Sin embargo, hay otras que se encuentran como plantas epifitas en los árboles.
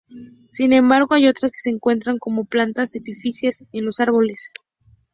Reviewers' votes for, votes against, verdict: 0, 2, rejected